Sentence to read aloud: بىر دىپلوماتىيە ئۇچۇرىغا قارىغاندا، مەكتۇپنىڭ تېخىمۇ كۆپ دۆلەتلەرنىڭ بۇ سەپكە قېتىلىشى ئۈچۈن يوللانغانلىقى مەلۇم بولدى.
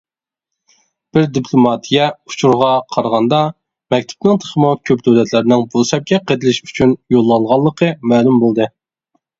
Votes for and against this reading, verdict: 2, 0, accepted